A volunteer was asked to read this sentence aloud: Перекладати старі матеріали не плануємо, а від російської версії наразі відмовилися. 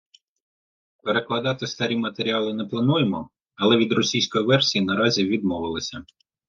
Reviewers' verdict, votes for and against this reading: rejected, 1, 2